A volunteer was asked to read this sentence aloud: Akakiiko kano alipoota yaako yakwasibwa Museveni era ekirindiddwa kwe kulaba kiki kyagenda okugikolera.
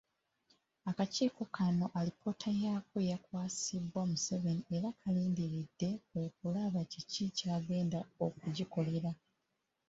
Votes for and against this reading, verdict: 1, 3, rejected